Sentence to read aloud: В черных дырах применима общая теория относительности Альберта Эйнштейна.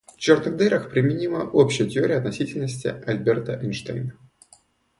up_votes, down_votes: 0, 2